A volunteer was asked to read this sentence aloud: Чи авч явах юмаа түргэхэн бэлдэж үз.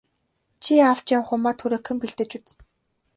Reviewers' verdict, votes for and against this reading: accepted, 2, 0